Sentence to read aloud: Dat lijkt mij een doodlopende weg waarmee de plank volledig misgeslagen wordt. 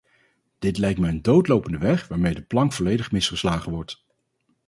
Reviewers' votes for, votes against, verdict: 2, 2, rejected